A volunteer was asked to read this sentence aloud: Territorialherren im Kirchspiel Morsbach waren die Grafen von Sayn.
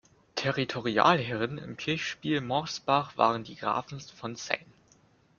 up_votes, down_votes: 1, 2